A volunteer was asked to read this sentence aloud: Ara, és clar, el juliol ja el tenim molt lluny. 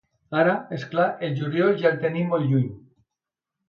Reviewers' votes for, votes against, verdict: 2, 0, accepted